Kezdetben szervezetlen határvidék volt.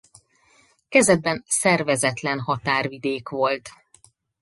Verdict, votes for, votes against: rejected, 0, 4